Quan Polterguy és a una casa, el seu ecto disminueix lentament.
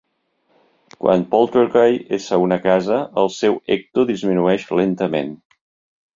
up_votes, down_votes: 2, 0